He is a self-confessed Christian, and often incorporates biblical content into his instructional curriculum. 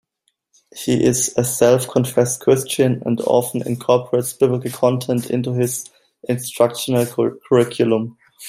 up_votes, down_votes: 2, 1